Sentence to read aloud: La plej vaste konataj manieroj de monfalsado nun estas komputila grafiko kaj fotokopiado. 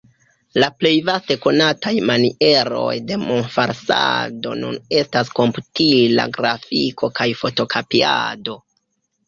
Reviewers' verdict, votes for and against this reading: rejected, 0, 2